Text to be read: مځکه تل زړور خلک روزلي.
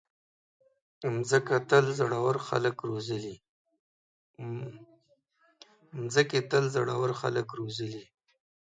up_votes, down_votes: 1, 2